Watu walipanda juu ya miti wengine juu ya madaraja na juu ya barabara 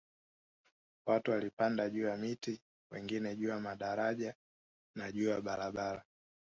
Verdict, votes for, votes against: rejected, 0, 2